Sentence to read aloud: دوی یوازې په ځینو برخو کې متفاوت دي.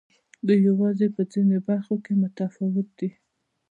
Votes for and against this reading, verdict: 2, 0, accepted